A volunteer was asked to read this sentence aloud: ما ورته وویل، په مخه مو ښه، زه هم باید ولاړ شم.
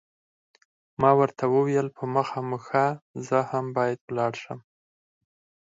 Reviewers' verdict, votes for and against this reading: rejected, 0, 4